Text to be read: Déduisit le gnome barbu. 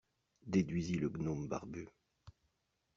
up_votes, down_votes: 2, 0